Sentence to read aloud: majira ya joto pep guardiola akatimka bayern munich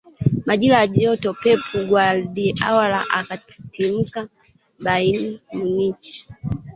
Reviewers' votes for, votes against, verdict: 0, 2, rejected